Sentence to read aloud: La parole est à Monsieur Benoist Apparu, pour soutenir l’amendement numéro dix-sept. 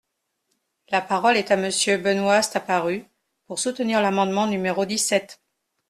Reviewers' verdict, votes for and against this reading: rejected, 0, 2